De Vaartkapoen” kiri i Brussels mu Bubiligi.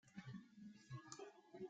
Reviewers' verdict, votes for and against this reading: rejected, 0, 2